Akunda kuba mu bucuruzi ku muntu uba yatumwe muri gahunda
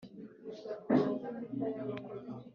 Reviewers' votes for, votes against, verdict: 0, 4, rejected